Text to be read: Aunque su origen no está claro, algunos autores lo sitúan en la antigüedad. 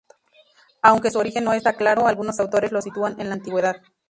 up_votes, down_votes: 0, 2